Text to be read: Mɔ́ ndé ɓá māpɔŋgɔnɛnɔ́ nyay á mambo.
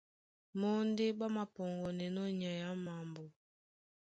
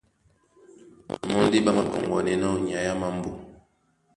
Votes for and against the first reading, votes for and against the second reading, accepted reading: 2, 0, 0, 2, first